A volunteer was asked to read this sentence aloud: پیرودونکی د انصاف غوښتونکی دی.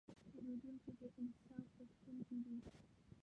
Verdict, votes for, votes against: rejected, 1, 2